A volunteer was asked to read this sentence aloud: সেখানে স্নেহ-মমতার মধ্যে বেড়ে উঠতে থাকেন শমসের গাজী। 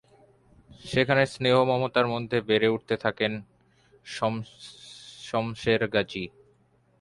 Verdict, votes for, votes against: rejected, 1, 2